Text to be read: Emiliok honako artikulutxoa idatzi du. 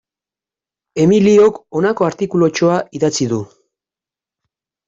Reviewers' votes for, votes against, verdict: 2, 0, accepted